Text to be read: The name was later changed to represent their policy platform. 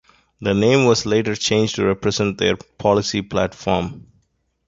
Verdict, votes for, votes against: accepted, 2, 0